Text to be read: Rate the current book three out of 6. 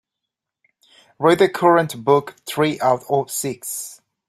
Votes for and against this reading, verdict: 0, 2, rejected